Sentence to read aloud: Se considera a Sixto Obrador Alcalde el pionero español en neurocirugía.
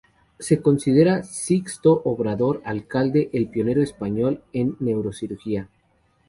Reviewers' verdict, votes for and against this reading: rejected, 2, 2